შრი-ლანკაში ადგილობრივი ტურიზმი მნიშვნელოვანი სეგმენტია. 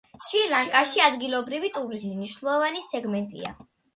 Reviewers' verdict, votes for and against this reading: accepted, 2, 0